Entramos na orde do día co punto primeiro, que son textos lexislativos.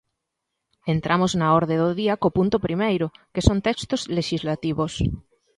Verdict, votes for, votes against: accepted, 2, 0